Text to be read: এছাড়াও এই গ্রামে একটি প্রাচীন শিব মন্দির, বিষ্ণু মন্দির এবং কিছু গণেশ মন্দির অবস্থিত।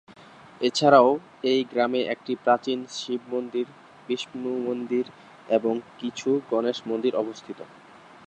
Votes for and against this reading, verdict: 2, 0, accepted